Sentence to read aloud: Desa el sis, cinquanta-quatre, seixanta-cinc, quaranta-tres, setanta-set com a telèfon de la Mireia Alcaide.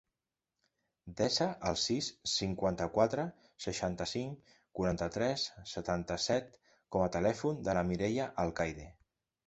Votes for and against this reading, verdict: 2, 0, accepted